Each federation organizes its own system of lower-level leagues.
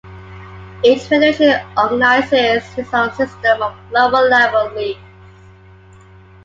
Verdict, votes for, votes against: accepted, 2, 0